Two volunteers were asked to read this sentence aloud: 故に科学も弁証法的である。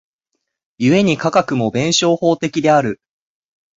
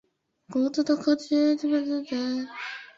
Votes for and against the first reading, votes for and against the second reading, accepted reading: 4, 0, 0, 2, first